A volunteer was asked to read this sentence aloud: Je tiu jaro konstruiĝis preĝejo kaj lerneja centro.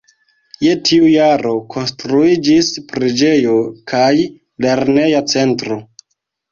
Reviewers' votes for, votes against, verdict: 2, 1, accepted